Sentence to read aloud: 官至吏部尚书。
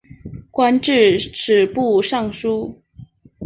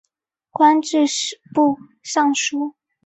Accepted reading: second